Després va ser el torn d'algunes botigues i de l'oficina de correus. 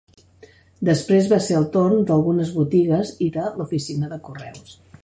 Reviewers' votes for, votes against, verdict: 3, 0, accepted